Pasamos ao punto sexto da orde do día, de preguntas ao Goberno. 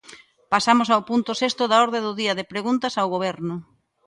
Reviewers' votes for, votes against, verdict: 2, 0, accepted